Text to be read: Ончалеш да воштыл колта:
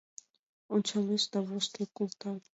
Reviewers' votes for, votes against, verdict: 2, 1, accepted